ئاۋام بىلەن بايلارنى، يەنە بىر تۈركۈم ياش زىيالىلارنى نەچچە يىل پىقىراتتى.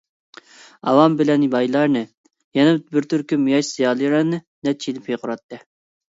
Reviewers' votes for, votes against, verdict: 2, 1, accepted